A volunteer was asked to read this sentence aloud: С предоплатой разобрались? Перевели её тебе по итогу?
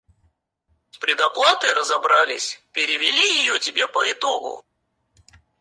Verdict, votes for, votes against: rejected, 2, 4